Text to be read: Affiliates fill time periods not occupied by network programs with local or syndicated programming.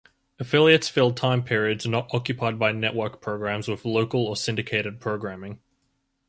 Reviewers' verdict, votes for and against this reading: accepted, 4, 0